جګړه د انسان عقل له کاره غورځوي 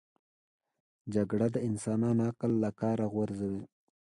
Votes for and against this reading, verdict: 2, 0, accepted